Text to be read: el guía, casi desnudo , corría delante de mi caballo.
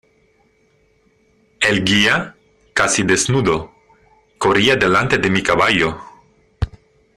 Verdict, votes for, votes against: accepted, 2, 0